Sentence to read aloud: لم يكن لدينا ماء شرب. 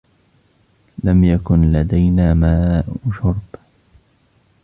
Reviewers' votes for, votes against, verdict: 2, 1, accepted